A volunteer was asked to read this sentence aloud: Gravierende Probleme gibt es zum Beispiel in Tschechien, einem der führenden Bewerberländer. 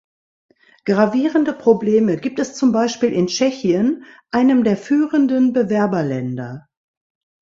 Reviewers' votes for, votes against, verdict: 2, 0, accepted